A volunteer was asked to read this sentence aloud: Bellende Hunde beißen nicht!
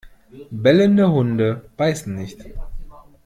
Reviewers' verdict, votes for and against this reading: accepted, 2, 0